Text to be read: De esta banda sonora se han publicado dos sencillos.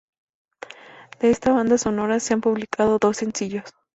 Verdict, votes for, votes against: accepted, 2, 0